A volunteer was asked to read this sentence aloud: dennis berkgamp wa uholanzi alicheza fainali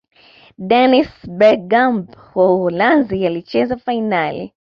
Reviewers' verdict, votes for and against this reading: accepted, 2, 0